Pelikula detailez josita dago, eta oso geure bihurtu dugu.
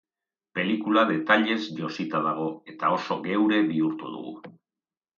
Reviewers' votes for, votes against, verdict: 2, 0, accepted